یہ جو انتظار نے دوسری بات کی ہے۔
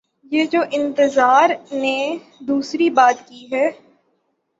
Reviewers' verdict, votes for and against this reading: rejected, 0, 3